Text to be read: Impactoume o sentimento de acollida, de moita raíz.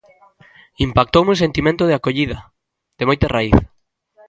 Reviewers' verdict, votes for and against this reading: rejected, 0, 2